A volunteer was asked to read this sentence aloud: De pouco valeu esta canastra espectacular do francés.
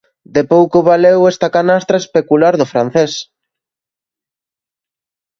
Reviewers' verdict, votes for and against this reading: rejected, 0, 2